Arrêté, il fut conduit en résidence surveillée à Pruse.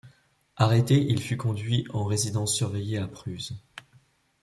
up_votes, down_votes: 2, 0